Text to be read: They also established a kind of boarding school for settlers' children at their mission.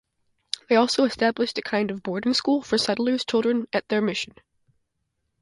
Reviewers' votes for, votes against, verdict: 2, 0, accepted